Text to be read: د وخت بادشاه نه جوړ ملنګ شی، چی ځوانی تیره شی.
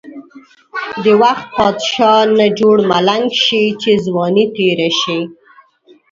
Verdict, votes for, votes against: rejected, 1, 2